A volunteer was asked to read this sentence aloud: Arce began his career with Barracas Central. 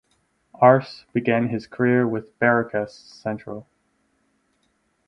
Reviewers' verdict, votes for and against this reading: accepted, 4, 0